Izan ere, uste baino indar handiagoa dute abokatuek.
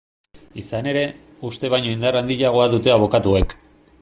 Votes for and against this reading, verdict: 2, 0, accepted